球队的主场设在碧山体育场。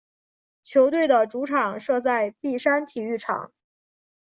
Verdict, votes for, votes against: accepted, 4, 0